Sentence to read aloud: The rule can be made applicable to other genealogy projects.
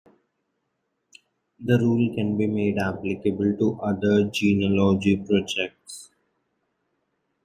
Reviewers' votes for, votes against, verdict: 0, 2, rejected